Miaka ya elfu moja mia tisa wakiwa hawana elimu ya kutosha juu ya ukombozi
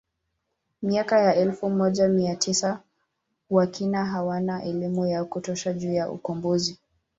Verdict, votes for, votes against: rejected, 2, 4